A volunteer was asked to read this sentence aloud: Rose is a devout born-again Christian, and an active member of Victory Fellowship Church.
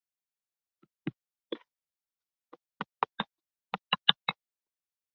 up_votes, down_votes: 0, 2